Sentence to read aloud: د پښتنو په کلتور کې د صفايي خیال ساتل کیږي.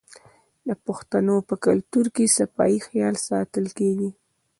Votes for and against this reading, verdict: 0, 2, rejected